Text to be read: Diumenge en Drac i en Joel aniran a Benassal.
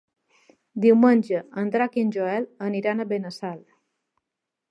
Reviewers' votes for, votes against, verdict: 3, 0, accepted